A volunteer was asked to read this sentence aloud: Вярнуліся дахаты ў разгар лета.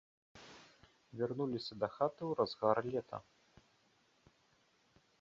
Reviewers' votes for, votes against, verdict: 2, 0, accepted